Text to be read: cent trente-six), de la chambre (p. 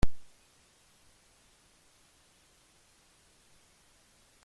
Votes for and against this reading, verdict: 0, 2, rejected